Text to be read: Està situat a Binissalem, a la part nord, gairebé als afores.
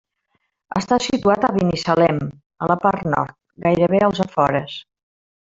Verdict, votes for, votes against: rejected, 0, 2